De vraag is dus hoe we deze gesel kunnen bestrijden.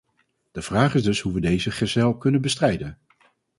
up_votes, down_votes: 2, 2